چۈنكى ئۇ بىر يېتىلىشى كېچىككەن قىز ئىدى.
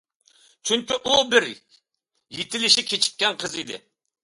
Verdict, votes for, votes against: accepted, 2, 0